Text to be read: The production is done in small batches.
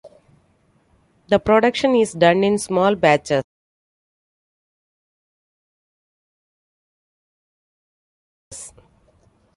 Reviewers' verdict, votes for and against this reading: accepted, 2, 1